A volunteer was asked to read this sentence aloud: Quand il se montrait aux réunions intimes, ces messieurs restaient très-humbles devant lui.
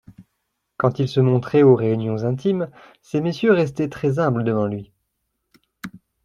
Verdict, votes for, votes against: accepted, 2, 0